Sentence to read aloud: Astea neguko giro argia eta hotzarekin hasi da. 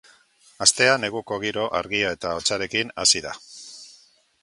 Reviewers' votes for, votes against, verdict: 2, 0, accepted